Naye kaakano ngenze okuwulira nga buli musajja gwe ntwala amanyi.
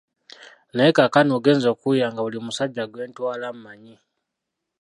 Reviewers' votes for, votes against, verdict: 1, 2, rejected